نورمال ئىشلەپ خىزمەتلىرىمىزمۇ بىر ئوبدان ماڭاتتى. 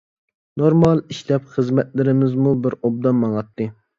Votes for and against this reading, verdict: 2, 0, accepted